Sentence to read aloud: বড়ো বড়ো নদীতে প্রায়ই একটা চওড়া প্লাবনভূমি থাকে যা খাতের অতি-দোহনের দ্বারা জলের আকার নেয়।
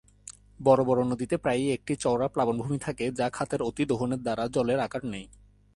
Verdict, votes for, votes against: accepted, 2, 0